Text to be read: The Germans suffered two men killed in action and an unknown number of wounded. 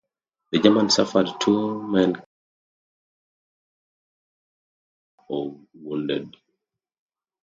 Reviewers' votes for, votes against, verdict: 0, 2, rejected